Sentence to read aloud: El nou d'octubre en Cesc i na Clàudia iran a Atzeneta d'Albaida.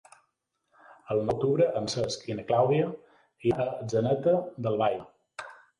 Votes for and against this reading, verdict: 0, 2, rejected